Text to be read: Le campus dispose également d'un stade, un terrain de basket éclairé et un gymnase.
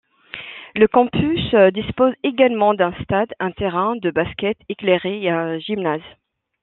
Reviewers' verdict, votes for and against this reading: accepted, 2, 0